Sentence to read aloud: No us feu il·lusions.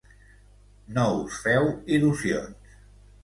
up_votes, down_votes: 2, 0